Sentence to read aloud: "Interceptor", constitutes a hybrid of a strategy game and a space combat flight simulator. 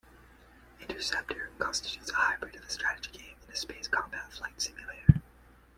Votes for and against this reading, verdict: 2, 0, accepted